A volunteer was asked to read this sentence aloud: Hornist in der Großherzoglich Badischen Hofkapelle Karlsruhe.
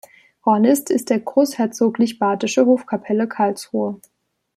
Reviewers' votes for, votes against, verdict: 0, 2, rejected